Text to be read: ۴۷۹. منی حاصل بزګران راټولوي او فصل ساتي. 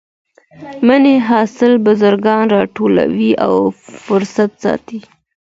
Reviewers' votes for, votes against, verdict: 0, 2, rejected